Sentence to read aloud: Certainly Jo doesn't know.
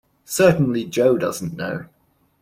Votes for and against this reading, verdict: 2, 0, accepted